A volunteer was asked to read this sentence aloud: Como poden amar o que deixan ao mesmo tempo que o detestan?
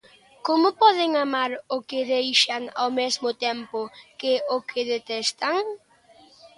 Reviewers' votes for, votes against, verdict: 2, 1, accepted